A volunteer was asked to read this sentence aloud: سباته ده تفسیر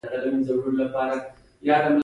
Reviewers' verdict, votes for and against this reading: rejected, 1, 2